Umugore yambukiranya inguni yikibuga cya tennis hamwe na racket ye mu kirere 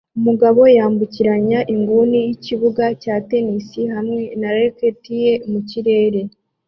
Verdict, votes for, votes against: accepted, 2, 1